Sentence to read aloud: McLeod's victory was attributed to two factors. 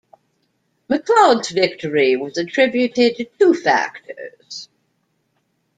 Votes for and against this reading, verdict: 0, 2, rejected